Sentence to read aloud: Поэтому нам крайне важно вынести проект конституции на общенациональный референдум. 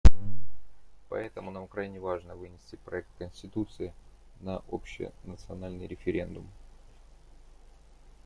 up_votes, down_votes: 2, 0